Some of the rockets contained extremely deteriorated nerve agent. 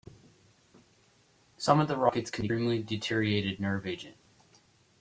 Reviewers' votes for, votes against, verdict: 0, 2, rejected